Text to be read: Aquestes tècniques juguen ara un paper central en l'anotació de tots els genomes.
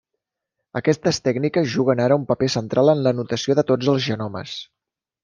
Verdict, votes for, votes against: accepted, 3, 0